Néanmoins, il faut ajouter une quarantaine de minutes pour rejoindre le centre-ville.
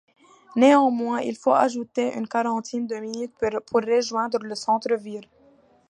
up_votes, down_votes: 1, 2